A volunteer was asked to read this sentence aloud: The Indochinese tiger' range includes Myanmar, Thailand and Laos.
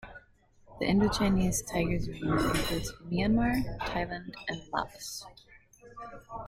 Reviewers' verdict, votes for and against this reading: accepted, 2, 1